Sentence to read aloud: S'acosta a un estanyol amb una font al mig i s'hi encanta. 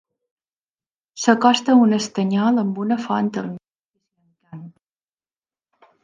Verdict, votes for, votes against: rejected, 0, 2